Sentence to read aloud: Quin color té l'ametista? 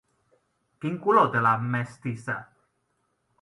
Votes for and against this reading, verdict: 0, 2, rejected